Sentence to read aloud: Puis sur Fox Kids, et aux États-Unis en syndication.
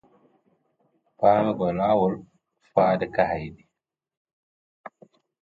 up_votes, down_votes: 0, 2